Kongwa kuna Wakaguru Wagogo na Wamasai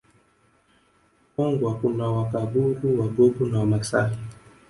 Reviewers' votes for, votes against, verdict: 1, 2, rejected